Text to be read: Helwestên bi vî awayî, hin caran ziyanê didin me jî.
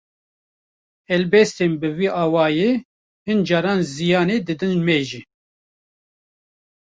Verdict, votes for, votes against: rejected, 0, 2